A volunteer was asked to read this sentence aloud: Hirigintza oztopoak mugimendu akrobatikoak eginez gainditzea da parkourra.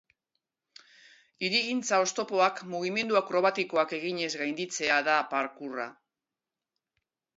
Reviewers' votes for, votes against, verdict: 2, 0, accepted